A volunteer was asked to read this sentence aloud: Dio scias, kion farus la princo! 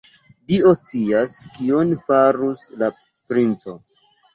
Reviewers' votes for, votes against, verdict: 2, 0, accepted